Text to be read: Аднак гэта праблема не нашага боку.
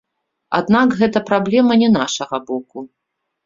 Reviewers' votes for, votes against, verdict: 3, 0, accepted